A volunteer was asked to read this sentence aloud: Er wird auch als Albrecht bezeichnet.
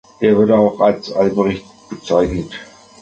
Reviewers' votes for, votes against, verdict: 2, 1, accepted